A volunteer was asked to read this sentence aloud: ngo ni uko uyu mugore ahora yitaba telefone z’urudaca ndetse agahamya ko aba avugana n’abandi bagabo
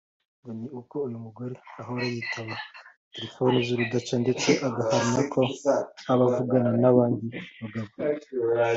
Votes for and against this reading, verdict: 2, 1, accepted